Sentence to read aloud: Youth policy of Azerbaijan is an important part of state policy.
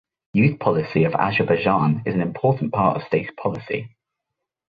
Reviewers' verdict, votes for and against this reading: accepted, 2, 0